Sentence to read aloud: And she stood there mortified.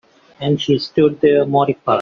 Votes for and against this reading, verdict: 2, 1, accepted